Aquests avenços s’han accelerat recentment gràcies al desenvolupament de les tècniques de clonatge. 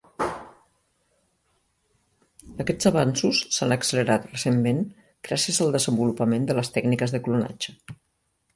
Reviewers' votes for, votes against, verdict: 0, 2, rejected